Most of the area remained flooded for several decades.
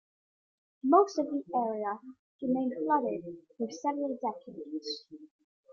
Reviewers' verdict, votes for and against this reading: accepted, 2, 0